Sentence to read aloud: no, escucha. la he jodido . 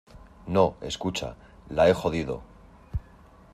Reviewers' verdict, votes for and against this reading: accepted, 2, 0